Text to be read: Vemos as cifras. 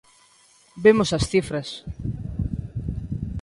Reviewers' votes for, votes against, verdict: 2, 0, accepted